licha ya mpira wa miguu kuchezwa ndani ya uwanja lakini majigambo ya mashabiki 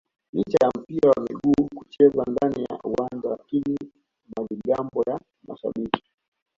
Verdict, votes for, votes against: rejected, 1, 2